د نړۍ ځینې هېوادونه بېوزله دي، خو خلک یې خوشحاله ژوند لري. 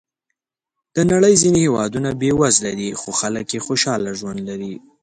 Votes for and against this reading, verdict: 2, 0, accepted